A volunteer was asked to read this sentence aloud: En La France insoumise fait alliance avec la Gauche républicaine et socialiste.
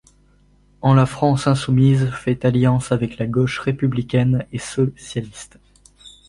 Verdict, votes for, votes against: rejected, 1, 2